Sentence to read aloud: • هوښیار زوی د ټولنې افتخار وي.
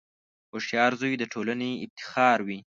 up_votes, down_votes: 2, 0